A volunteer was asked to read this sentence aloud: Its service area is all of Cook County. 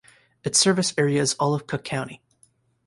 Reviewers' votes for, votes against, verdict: 2, 0, accepted